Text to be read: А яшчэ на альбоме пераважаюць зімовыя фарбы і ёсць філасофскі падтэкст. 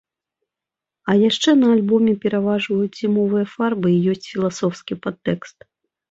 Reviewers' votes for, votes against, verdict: 0, 2, rejected